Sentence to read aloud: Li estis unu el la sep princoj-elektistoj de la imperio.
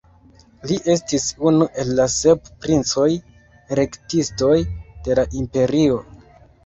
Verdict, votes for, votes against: rejected, 0, 2